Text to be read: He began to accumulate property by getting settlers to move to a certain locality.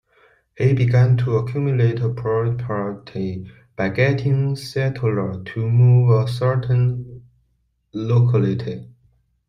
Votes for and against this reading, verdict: 1, 2, rejected